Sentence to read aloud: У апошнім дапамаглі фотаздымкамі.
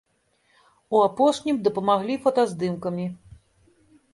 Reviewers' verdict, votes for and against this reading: accepted, 3, 0